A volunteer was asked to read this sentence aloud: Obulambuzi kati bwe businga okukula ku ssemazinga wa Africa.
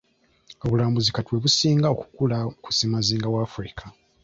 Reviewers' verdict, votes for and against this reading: accepted, 2, 1